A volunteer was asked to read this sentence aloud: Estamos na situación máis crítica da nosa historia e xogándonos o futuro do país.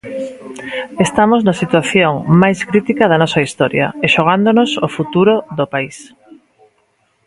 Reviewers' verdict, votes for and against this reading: rejected, 0, 2